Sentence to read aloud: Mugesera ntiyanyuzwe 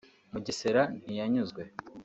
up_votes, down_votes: 2, 0